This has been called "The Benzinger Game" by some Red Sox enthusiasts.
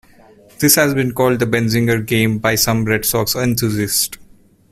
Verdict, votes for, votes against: rejected, 1, 2